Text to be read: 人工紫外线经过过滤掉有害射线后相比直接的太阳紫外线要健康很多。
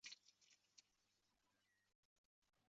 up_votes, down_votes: 2, 3